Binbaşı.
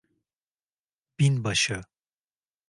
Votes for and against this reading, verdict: 2, 0, accepted